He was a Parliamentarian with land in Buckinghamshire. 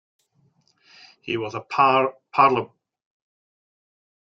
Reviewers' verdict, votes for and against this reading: rejected, 0, 2